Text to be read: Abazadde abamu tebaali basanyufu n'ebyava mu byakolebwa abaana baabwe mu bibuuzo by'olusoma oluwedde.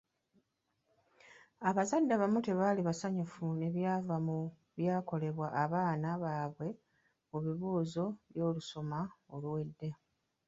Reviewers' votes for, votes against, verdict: 1, 2, rejected